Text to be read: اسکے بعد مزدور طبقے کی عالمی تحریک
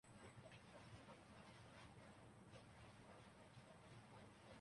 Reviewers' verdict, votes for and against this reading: rejected, 0, 3